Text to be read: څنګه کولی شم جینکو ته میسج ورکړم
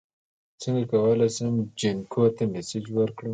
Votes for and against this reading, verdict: 2, 0, accepted